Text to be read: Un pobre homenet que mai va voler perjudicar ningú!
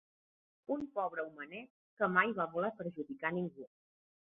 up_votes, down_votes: 2, 1